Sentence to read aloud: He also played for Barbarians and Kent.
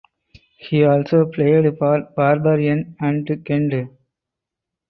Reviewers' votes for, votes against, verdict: 0, 4, rejected